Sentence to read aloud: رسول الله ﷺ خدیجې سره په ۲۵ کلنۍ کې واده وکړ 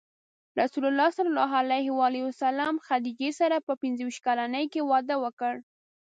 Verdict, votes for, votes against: rejected, 0, 2